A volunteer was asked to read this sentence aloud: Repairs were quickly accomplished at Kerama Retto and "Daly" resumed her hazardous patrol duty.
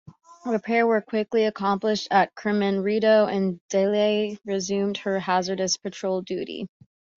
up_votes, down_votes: 1, 2